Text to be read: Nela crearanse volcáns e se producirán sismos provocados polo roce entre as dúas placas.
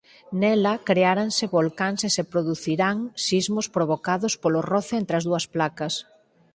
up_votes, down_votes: 2, 4